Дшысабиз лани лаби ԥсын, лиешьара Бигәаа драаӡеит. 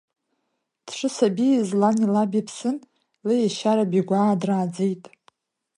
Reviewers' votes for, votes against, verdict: 2, 0, accepted